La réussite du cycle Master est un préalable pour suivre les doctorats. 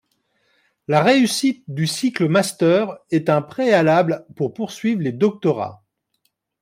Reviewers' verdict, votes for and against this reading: rejected, 1, 2